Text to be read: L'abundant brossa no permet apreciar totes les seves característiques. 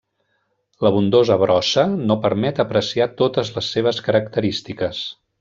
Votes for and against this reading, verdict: 0, 2, rejected